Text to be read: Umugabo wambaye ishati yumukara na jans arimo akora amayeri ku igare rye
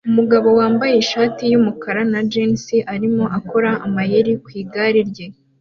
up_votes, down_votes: 2, 0